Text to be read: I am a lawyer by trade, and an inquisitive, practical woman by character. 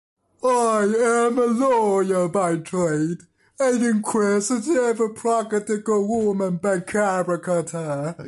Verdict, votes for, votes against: accepted, 2, 1